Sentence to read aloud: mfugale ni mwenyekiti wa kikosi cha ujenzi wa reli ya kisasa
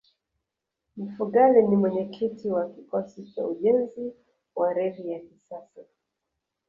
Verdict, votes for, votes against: rejected, 0, 2